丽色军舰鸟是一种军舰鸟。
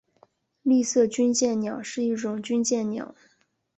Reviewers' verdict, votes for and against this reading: rejected, 2, 3